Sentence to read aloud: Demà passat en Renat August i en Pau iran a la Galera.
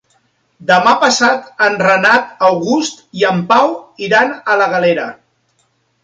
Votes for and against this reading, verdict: 3, 0, accepted